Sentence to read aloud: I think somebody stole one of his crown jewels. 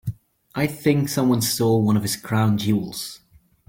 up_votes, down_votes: 1, 2